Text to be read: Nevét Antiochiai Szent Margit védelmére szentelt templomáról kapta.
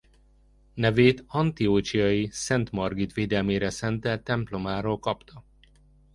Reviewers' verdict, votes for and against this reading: rejected, 1, 2